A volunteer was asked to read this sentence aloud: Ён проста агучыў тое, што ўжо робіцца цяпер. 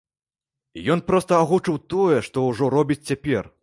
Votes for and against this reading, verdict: 0, 2, rejected